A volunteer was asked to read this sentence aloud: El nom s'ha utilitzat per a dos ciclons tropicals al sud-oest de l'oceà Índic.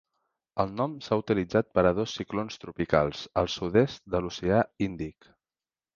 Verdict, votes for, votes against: rejected, 2, 3